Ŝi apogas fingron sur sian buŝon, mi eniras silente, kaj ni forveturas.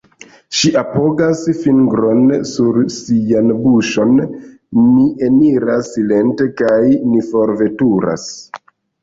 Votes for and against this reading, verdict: 0, 3, rejected